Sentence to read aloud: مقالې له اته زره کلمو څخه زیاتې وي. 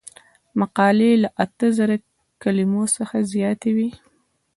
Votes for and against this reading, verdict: 2, 0, accepted